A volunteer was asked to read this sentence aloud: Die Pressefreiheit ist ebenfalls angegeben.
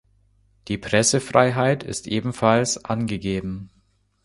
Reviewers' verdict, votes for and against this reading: accepted, 2, 0